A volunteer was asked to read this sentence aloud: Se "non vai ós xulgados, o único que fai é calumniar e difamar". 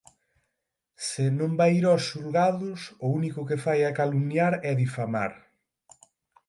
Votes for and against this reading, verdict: 3, 6, rejected